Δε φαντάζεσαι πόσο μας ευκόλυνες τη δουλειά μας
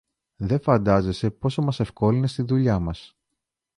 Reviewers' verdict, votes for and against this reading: accepted, 2, 0